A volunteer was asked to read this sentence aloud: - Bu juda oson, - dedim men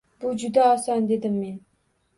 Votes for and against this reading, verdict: 2, 0, accepted